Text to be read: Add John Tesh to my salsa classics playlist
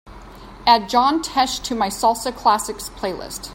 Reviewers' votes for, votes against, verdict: 2, 0, accepted